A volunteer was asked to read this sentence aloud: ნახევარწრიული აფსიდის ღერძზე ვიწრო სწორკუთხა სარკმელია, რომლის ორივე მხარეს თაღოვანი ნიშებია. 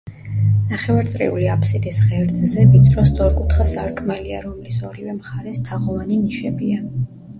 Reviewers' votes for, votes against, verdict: 0, 2, rejected